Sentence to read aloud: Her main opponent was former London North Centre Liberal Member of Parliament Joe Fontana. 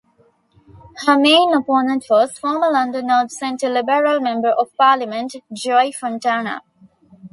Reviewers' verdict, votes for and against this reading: rejected, 1, 2